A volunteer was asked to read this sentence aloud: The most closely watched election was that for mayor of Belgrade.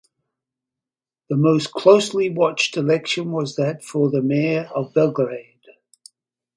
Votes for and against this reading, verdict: 4, 0, accepted